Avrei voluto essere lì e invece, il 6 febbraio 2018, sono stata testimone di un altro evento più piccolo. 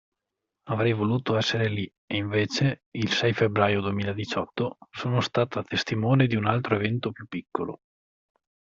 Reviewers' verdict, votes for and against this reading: rejected, 0, 2